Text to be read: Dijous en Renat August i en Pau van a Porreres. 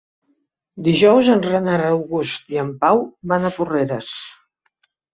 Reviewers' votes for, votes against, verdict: 0, 2, rejected